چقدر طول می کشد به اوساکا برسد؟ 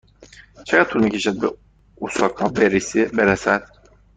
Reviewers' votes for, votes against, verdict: 1, 2, rejected